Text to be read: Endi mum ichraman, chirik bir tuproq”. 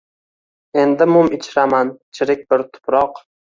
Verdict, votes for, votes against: accepted, 2, 0